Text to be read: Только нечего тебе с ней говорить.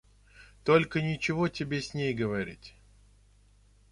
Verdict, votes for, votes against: accepted, 2, 0